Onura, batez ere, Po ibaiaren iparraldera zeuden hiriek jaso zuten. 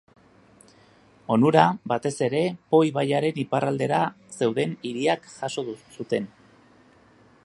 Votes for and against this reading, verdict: 0, 2, rejected